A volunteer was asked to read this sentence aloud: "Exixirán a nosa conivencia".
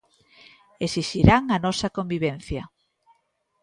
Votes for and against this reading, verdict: 0, 2, rejected